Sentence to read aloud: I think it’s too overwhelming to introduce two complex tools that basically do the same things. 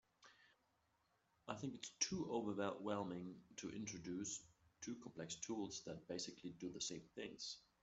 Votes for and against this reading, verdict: 0, 2, rejected